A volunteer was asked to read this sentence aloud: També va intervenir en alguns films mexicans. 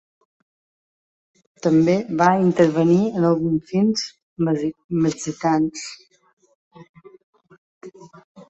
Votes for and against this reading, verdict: 0, 2, rejected